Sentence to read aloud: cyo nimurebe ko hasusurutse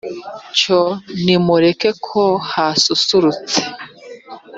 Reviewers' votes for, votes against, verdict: 0, 2, rejected